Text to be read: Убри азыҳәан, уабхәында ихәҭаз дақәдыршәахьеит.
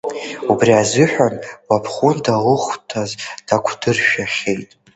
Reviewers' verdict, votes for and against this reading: rejected, 0, 2